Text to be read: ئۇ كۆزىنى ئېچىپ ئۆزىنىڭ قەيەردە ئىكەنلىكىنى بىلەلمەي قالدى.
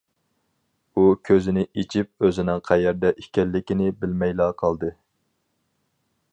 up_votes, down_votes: 0, 4